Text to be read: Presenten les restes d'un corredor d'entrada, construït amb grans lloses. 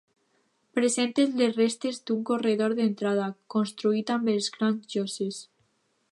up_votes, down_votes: 0, 2